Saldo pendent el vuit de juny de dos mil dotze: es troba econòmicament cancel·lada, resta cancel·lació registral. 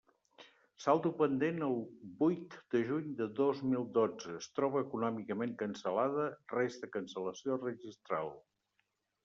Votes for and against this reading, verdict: 1, 2, rejected